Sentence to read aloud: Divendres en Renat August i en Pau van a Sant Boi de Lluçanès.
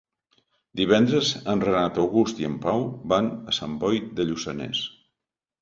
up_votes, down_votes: 2, 0